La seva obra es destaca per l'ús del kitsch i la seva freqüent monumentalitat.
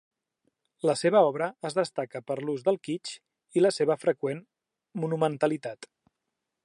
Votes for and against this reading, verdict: 2, 0, accepted